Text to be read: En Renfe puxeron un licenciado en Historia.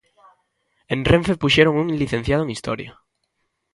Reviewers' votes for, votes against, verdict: 2, 0, accepted